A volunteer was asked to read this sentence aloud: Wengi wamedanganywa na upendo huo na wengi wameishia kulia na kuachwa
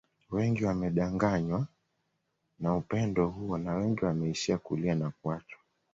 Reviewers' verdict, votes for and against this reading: accepted, 2, 0